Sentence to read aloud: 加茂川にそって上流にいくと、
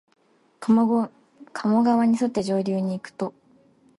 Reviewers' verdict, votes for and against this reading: rejected, 2, 2